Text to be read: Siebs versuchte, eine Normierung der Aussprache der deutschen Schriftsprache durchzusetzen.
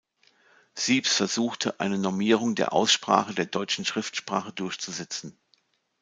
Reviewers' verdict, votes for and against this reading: accepted, 2, 0